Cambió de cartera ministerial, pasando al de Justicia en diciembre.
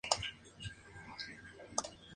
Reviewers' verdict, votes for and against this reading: rejected, 2, 4